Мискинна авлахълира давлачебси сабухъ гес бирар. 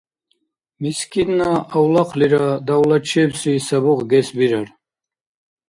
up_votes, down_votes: 2, 0